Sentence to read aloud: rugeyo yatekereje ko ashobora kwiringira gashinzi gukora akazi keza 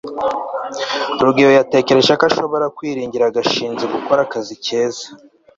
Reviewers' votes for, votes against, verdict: 2, 0, accepted